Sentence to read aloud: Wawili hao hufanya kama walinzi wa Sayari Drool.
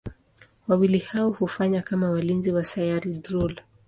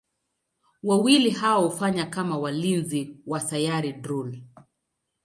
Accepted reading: second